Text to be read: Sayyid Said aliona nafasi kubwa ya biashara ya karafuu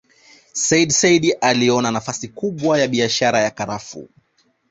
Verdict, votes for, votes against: accepted, 2, 0